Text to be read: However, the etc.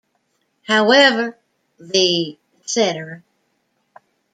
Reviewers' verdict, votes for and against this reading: rejected, 1, 2